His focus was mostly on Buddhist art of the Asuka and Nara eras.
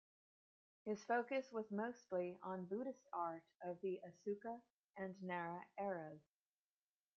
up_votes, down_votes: 2, 1